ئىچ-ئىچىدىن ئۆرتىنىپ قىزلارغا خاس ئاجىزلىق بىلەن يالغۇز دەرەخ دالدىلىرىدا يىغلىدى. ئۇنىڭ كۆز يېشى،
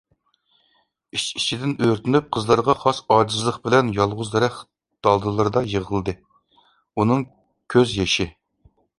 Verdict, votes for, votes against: accepted, 2, 0